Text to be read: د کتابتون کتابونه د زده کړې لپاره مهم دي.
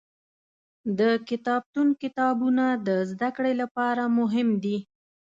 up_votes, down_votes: 2, 0